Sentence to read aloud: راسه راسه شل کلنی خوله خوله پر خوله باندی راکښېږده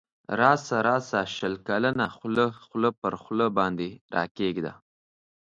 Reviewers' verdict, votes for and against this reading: rejected, 1, 2